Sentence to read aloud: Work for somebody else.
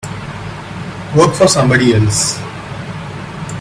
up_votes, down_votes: 1, 2